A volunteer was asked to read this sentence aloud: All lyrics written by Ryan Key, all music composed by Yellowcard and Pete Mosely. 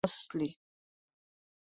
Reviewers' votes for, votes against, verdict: 0, 2, rejected